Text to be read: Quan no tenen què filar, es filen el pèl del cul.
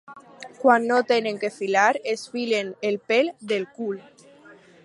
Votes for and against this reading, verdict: 4, 0, accepted